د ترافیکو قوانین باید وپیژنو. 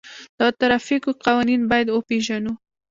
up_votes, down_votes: 0, 2